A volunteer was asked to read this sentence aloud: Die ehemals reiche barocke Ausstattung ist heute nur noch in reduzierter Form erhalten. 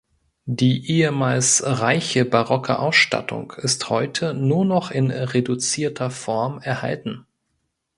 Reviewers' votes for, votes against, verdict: 2, 0, accepted